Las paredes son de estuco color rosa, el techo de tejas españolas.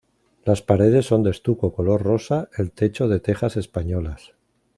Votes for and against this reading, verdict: 2, 0, accepted